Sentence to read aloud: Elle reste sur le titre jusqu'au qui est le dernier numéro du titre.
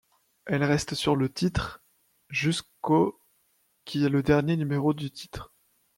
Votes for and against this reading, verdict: 2, 0, accepted